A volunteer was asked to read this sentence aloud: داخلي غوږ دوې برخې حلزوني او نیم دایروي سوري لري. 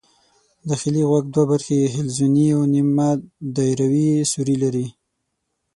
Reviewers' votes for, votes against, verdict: 3, 6, rejected